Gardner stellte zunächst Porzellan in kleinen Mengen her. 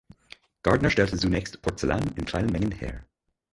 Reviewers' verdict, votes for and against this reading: accepted, 4, 0